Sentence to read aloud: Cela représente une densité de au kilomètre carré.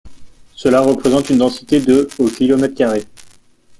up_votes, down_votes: 2, 0